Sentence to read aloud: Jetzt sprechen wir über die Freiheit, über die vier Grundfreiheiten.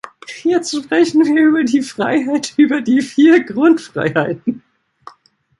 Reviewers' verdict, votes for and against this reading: rejected, 1, 4